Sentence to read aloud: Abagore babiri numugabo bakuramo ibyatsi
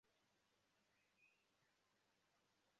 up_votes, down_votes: 0, 2